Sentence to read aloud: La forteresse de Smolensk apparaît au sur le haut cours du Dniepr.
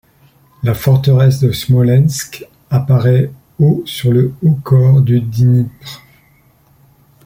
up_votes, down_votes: 0, 2